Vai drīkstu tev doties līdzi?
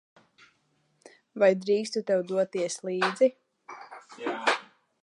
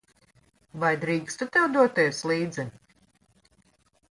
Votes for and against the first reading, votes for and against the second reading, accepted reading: 0, 2, 2, 0, second